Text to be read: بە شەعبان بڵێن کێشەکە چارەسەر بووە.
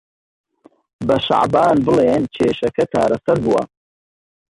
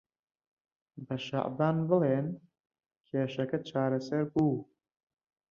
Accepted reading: first